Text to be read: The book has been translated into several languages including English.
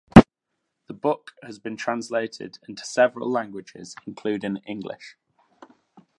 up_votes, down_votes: 2, 0